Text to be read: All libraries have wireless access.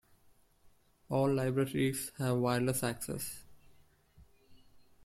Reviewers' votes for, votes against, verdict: 2, 0, accepted